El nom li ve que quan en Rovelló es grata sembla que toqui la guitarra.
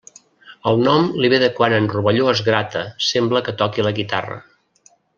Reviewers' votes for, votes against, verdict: 1, 2, rejected